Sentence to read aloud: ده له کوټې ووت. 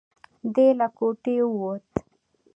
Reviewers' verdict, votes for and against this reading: accepted, 2, 0